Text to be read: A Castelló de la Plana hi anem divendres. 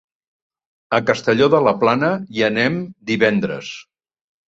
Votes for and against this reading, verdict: 3, 0, accepted